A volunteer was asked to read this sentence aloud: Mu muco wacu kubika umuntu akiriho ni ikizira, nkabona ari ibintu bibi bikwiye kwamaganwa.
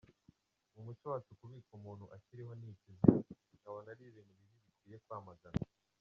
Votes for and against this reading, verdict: 0, 2, rejected